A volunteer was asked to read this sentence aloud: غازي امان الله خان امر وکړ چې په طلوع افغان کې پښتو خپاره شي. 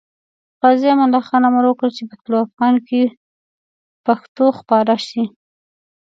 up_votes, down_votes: 2, 0